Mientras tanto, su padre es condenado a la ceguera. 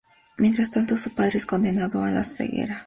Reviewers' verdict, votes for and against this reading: accepted, 2, 0